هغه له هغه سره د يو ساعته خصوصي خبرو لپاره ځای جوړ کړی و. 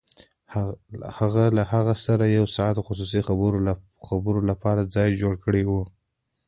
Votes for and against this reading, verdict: 2, 0, accepted